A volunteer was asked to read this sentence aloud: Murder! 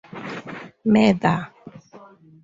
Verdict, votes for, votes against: accepted, 4, 2